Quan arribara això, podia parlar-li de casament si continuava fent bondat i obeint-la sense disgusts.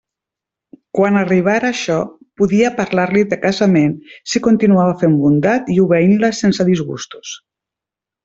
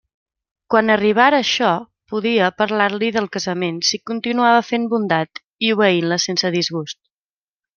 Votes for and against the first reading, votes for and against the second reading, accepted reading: 1, 2, 2, 0, second